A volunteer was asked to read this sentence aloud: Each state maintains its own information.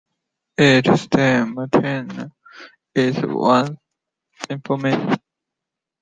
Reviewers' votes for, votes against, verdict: 1, 2, rejected